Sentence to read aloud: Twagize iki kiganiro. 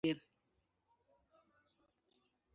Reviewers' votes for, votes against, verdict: 0, 2, rejected